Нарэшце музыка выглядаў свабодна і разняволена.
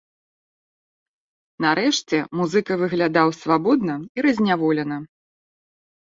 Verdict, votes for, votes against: accepted, 2, 0